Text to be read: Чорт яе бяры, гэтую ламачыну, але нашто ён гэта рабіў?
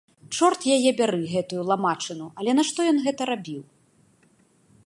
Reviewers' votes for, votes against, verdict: 2, 0, accepted